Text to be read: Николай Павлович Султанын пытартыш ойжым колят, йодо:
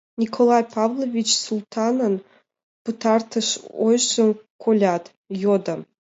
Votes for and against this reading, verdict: 2, 0, accepted